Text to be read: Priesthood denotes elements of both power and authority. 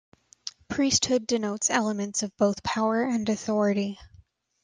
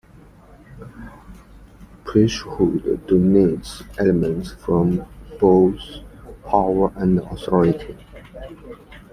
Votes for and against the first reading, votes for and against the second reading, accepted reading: 2, 0, 0, 2, first